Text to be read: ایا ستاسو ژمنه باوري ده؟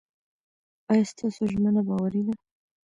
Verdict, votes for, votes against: rejected, 0, 2